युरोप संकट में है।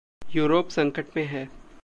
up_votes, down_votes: 2, 0